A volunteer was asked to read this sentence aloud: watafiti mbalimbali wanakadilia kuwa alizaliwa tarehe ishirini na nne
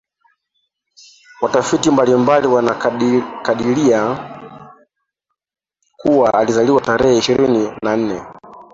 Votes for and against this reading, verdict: 0, 2, rejected